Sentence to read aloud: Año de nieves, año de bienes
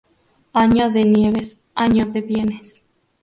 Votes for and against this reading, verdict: 0, 2, rejected